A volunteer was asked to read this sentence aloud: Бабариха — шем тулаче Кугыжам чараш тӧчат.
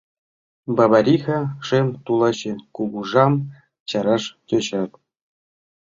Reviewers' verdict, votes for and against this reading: accepted, 2, 1